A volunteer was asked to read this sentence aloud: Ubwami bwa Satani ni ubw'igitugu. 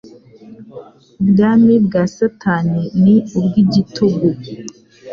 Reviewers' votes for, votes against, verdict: 2, 0, accepted